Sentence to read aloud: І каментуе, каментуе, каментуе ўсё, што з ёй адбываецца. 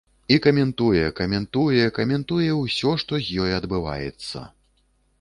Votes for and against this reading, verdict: 2, 0, accepted